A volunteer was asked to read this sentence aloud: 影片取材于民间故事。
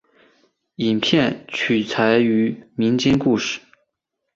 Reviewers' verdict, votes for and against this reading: rejected, 1, 2